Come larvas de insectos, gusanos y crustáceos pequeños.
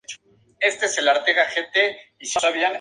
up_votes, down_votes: 4, 0